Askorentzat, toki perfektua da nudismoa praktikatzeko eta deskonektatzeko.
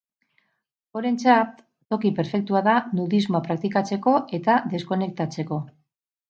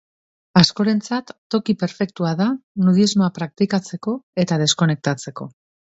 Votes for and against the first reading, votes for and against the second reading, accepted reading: 0, 6, 2, 0, second